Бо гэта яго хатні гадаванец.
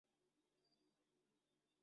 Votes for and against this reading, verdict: 0, 2, rejected